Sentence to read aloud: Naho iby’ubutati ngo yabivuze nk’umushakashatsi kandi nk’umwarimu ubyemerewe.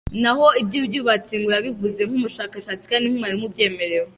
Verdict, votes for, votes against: rejected, 1, 2